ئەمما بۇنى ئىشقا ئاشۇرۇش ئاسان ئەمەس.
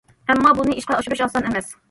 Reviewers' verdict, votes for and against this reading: rejected, 1, 2